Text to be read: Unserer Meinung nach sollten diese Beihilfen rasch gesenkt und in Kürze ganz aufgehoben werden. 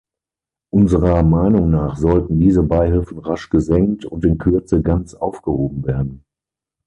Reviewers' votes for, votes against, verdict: 9, 0, accepted